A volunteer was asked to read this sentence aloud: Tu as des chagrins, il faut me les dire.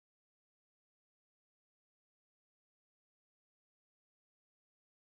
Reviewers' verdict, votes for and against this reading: rejected, 0, 2